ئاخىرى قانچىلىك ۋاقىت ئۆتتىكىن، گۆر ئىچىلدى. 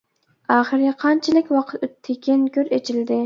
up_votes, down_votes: 2, 0